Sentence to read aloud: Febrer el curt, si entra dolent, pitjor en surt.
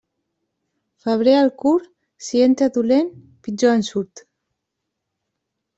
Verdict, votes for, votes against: rejected, 1, 2